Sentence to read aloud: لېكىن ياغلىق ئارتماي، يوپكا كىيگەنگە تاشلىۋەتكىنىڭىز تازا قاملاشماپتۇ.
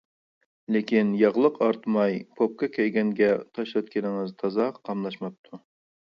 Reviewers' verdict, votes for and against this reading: rejected, 0, 2